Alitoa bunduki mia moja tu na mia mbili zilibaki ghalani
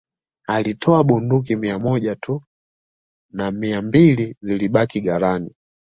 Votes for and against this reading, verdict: 2, 0, accepted